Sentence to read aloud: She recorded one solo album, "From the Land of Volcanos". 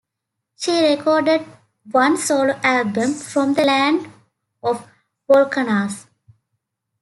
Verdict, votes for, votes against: rejected, 0, 2